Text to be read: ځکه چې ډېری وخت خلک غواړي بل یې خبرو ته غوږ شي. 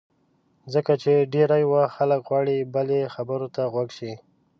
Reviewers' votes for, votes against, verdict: 0, 2, rejected